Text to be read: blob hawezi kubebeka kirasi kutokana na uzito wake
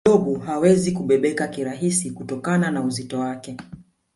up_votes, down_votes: 2, 4